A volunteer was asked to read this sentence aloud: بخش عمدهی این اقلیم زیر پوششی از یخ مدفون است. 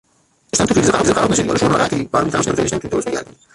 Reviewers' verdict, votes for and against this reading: rejected, 0, 2